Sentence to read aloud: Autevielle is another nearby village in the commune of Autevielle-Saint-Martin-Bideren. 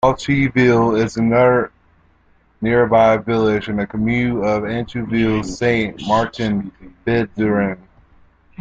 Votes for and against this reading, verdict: 0, 2, rejected